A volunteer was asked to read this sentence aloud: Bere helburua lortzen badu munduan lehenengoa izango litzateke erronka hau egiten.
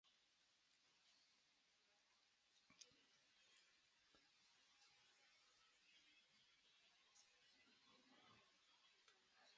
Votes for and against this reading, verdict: 0, 2, rejected